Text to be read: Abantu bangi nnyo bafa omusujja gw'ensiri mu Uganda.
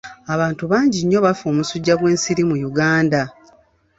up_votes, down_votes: 3, 0